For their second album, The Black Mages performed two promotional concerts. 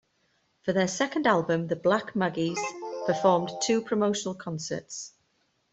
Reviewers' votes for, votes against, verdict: 1, 2, rejected